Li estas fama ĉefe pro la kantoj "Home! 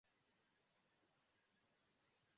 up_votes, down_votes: 0, 2